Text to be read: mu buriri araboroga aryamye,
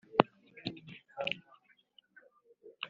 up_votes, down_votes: 1, 2